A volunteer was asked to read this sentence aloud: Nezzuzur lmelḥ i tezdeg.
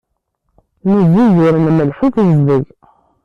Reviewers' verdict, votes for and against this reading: rejected, 1, 2